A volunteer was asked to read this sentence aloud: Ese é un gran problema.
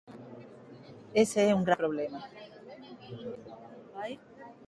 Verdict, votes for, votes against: accepted, 2, 1